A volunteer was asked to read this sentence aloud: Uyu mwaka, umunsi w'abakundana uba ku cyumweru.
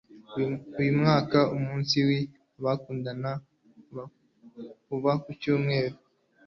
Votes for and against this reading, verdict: 0, 2, rejected